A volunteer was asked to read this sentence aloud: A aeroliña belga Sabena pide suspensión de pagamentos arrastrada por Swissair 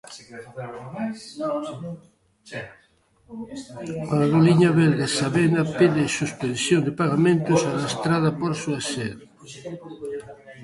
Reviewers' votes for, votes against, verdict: 0, 3, rejected